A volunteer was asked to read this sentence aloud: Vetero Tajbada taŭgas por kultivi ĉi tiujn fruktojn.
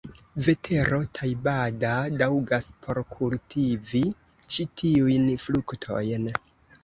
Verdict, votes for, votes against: rejected, 0, 2